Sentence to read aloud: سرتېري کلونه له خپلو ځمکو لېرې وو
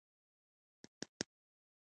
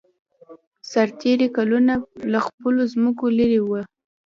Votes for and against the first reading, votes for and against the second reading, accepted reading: 1, 2, 2, 0, second